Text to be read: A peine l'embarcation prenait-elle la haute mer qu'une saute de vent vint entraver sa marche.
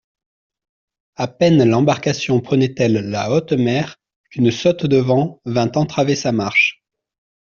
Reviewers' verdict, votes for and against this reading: accepted, 2, 0